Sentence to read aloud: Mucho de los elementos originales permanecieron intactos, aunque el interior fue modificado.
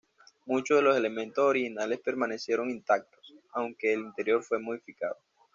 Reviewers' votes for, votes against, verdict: 2, 0, accepted